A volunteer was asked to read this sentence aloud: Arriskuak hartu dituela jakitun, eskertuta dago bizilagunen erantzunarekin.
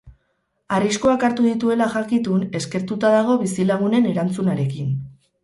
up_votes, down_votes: 4, 0